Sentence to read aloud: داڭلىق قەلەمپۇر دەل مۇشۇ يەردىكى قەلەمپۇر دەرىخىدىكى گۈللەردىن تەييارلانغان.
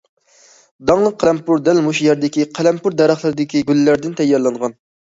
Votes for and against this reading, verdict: 0, 2, rejected